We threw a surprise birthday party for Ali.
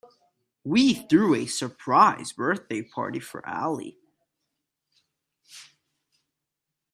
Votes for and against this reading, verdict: 2, 0, accepted